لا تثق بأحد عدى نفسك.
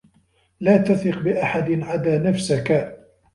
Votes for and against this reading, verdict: 2, 1, accepted